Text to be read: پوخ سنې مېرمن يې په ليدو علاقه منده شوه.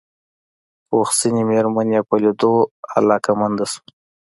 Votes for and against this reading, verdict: 2, 0, accepted